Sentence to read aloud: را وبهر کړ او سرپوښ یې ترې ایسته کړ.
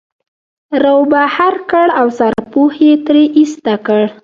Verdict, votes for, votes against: rejected, 1, 2